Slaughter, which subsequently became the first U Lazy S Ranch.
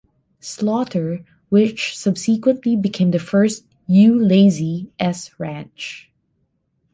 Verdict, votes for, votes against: rejected, 0, 2